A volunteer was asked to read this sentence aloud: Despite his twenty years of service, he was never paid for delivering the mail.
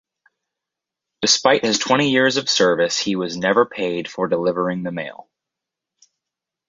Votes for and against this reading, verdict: 4, 0, accepted